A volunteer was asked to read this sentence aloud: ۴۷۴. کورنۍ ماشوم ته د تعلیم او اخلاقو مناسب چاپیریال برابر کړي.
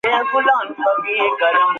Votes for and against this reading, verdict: 0, 2, rejected